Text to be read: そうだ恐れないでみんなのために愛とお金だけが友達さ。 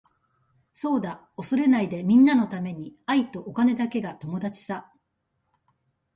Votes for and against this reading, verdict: 2, 0, accepted